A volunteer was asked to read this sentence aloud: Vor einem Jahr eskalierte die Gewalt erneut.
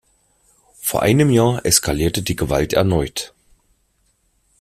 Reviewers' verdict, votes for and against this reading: accepted, 2, 0